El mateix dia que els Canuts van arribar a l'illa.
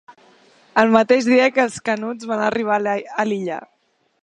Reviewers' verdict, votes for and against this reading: rejected, 1, 2